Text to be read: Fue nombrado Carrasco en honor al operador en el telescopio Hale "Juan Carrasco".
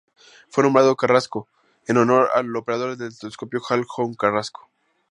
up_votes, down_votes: 2, 0